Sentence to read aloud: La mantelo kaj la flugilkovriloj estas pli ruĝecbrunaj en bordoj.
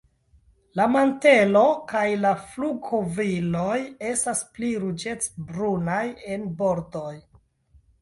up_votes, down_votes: 2, 1